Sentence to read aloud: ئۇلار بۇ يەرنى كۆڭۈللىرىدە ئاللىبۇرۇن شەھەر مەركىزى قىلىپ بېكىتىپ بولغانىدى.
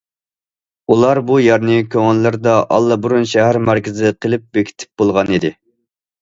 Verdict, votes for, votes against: accepted, 2, 0